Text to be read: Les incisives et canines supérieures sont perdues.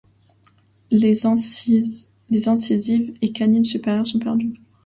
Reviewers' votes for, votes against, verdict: 1, 2, rejected